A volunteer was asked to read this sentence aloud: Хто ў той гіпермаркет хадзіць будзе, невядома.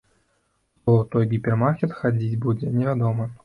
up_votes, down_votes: 1, 2